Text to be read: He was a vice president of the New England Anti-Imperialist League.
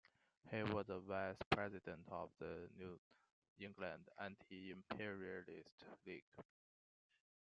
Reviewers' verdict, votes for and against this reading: accepted, 2, 1